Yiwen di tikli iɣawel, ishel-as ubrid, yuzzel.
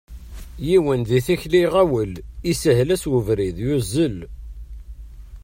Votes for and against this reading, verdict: 2, 0, accepted